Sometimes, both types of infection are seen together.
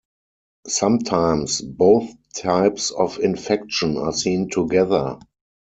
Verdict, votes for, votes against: accepted, 4, 0